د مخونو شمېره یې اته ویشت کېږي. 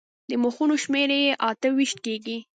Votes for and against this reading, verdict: 3, 0, accepted